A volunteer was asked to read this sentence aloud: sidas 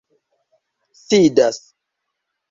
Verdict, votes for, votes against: accepted, 3, 0